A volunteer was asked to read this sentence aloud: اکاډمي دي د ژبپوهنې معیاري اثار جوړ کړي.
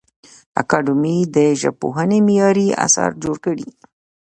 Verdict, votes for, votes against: accepted, 2, 0